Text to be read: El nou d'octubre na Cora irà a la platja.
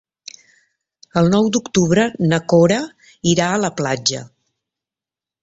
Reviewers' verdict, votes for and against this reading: accepted, 3, 0